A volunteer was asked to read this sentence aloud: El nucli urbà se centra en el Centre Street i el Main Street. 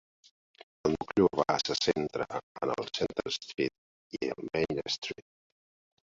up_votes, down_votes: 1, 2